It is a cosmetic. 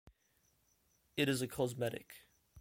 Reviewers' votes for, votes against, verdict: 2, 0, accepted